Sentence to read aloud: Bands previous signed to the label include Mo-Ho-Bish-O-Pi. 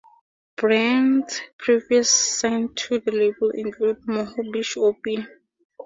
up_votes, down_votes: 2, 0